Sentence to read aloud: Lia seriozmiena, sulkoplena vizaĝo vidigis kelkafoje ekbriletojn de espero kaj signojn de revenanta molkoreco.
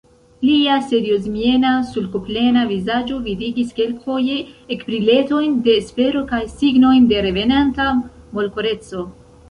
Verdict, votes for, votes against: rejected, 1, 2